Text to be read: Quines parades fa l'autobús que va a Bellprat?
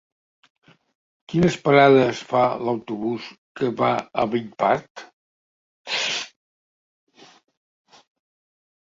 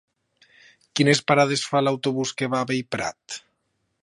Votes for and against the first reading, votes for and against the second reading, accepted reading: 1, 2, 3, 0, second